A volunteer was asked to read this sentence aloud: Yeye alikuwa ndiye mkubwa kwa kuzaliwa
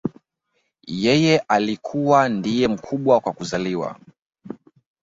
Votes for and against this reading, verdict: 3, 1, accepted